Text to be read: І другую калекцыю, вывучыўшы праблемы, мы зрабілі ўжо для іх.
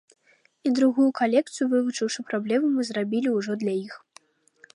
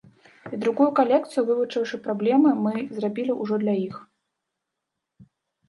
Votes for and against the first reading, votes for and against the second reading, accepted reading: 2, 0, 2, 3, first